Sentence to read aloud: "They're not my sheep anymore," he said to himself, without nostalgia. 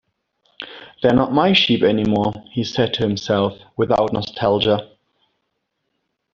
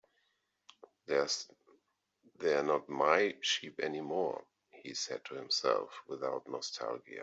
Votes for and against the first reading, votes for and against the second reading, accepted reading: 2, 0, 1, 2, first